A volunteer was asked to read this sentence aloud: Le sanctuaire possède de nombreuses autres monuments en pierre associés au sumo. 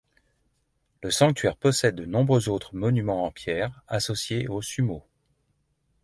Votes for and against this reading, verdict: 2, 0, accepted